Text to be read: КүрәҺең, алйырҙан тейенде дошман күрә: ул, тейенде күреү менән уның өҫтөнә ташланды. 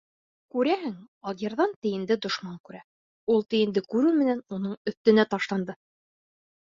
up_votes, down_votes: 3, 0